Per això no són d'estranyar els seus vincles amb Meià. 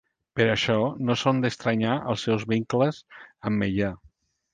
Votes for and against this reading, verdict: 2, 0, accepted